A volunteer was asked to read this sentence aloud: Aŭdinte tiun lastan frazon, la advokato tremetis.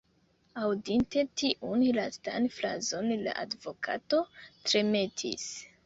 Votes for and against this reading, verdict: 2, 1, accepted